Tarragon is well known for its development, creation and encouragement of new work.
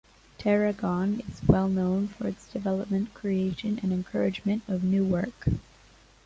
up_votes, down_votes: 2, 0